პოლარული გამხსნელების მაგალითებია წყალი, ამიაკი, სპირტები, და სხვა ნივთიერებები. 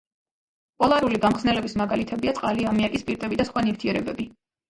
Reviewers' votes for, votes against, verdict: 0, 2, rejected